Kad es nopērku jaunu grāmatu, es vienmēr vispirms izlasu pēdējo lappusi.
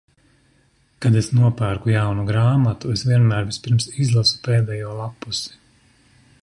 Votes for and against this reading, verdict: 2, 0, accepted